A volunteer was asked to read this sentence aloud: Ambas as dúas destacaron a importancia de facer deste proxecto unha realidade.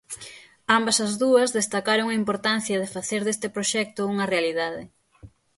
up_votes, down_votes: 6, 0